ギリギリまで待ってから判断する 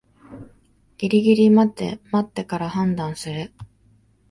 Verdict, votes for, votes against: accepted, 3, 2